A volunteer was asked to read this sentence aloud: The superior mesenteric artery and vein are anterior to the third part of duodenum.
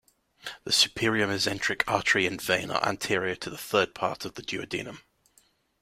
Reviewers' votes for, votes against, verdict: 2, 0, accepted